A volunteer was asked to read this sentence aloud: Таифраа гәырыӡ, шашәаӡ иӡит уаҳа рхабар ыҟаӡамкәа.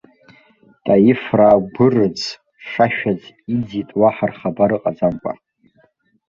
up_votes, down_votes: 1, 2